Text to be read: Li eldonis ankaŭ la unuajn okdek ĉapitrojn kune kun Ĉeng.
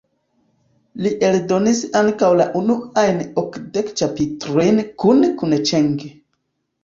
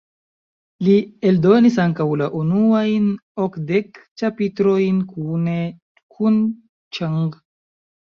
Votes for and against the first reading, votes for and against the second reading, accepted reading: 1, 2, 2, 1, second